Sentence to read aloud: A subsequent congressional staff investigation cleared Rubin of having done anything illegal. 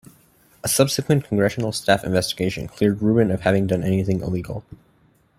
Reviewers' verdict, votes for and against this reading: accepted, 2, 0